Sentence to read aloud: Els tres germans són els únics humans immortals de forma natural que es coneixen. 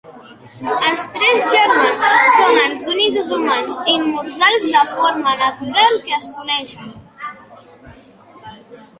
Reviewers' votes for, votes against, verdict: 2, 0, accepted